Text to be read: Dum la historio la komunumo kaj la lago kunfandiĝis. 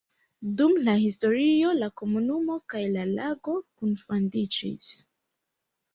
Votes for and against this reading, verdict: 2, 3, rejected